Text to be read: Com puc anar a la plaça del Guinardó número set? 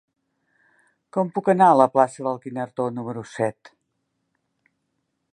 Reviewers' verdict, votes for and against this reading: accepted, 3, 0